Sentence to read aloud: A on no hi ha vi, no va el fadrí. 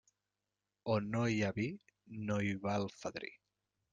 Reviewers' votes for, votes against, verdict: 0, 2, rejected